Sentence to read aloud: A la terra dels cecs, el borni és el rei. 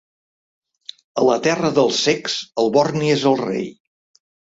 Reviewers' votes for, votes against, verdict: 2, 0, accepted